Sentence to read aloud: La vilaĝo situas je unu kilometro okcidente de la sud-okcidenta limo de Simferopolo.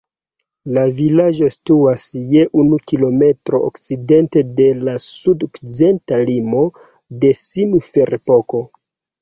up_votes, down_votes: 1, 2